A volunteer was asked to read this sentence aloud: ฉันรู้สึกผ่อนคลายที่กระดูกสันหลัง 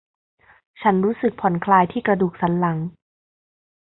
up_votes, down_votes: 2, 0